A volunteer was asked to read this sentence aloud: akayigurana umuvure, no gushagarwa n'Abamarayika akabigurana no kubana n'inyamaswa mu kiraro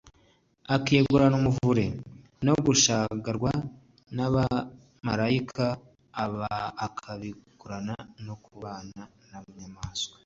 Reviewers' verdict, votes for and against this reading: rejected, 1, 2